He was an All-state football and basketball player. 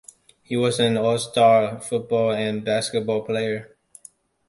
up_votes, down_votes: 1, 2